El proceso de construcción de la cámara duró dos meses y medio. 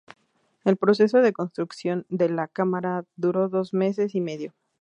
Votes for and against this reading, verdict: 2, 0, accepted